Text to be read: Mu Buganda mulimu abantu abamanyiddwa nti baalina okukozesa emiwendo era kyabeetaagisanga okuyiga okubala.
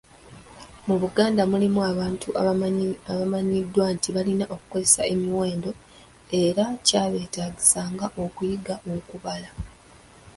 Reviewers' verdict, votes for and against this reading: rejected, 1, 2